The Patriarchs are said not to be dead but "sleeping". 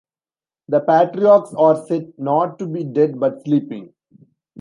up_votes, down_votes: 1, 2